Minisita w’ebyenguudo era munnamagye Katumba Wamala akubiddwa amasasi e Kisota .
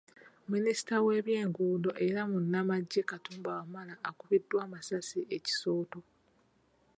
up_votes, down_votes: 1, 2